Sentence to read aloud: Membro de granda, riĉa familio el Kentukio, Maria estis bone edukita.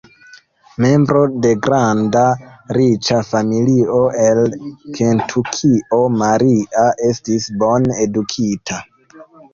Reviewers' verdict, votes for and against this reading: rejected, 0, 2